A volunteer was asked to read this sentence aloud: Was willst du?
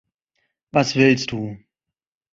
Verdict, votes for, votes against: accepted, 2, 0